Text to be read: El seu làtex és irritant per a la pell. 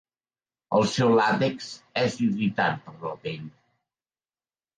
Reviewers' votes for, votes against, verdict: 0, 2, rejected